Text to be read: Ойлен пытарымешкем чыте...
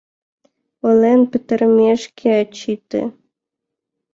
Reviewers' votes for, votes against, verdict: 0, 2, rejected